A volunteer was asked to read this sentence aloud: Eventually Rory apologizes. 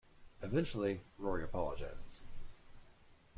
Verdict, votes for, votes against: accepted, 2, 0